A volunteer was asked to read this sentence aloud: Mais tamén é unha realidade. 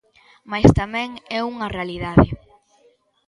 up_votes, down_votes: 1, 2